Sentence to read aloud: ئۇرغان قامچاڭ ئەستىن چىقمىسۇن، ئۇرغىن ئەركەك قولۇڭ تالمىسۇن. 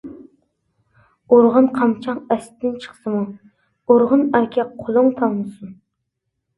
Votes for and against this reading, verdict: 0, 2, rejected